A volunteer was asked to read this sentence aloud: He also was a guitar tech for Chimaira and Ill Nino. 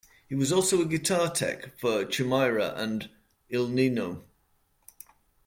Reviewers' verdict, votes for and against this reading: rejected, 0, 2